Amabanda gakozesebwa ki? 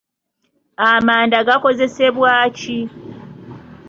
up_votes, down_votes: 1, 2